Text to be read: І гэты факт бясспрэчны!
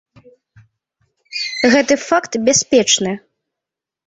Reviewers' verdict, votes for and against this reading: rejected, 0, 2